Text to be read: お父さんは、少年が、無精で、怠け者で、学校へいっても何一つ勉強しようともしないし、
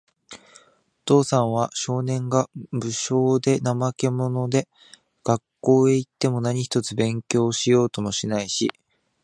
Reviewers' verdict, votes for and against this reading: accepted, 2, 0